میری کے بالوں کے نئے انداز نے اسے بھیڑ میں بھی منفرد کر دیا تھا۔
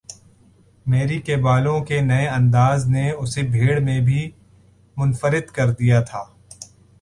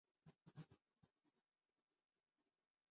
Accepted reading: first